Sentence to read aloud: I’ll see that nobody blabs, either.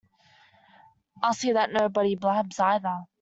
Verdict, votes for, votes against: rejected, 0, 2